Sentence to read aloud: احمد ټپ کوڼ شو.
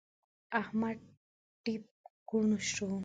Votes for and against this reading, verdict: 1, 2, rejected